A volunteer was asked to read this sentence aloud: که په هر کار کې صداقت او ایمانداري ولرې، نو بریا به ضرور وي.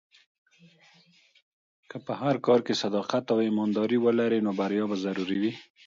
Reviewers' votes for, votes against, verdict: 2, 1, accepted